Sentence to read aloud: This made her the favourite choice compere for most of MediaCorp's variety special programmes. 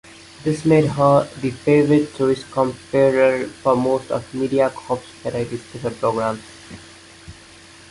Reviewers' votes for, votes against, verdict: 2, 3, rejected